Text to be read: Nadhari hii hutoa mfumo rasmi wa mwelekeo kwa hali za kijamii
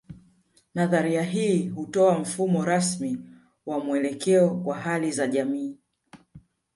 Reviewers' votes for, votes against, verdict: 0, 2, rejected